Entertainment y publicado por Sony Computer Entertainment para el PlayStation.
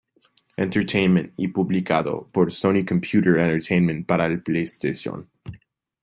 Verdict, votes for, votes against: rejected, 1, 2